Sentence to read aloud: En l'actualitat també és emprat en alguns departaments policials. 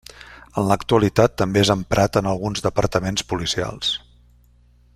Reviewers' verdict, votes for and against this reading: accepted, 3, 0